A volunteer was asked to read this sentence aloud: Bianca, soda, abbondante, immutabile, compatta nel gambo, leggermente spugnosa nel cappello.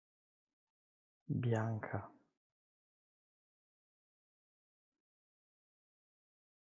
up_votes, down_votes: 0, 2